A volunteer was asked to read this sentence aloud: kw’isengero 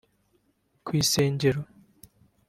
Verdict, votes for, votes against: accepted, 2, 0